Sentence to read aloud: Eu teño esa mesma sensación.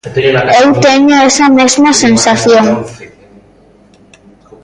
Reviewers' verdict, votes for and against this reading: rejected, 1, 2